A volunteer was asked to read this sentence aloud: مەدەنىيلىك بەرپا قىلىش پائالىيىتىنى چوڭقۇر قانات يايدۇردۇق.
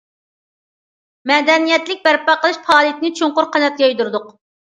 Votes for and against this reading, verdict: 0, 2, rejected